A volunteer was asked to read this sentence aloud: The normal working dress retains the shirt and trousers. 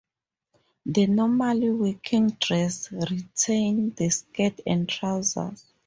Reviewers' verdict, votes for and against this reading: rejected, 0, 2